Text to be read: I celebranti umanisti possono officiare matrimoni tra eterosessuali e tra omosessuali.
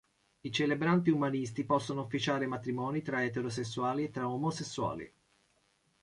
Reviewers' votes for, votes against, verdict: 2, 0, accepted